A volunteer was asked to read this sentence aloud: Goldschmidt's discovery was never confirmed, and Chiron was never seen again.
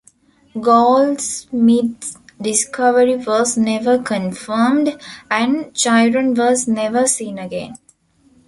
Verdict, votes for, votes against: rejected, 1, 2